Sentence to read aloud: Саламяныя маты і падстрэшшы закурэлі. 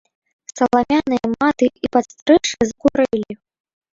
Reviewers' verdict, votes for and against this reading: rejected, 0, 2